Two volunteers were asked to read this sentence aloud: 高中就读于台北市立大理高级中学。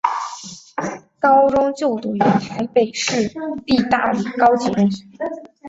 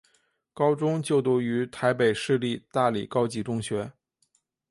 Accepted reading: second